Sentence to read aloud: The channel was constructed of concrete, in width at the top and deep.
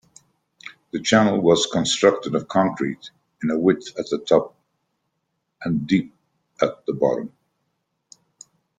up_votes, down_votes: 0, 2